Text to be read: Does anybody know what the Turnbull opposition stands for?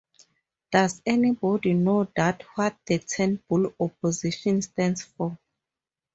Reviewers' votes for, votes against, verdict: 2, 2, rejected